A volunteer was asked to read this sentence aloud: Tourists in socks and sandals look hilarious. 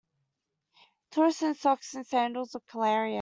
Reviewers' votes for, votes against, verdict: 0, 2, rejected